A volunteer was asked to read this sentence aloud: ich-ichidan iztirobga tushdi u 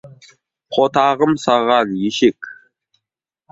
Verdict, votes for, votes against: rejected, 0, 2